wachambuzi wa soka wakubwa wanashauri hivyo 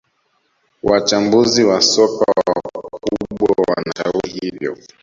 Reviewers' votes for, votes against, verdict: 0, 2, rejected